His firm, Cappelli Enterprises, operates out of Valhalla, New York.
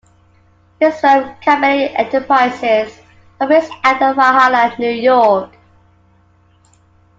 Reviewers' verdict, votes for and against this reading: rejected, 1, 2